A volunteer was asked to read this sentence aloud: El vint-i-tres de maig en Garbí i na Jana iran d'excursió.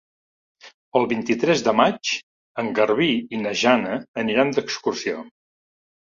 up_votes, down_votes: 0, 2